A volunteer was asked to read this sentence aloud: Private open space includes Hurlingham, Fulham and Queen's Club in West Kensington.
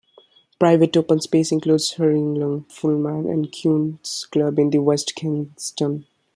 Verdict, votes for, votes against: accepted, 2, 1